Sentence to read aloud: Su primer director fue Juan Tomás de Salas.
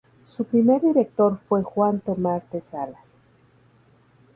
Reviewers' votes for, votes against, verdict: 2, 0, accepted